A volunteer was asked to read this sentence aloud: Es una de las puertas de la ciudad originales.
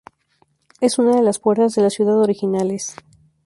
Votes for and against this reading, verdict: 0, 2, rejected